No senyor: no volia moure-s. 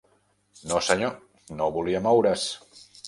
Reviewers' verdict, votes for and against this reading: accepted, 2, 0